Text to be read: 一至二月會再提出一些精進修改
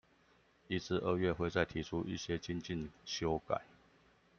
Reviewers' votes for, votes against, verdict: 2, 0, accepted